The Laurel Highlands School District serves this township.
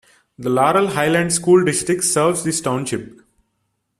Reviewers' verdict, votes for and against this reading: accepted, 2, 0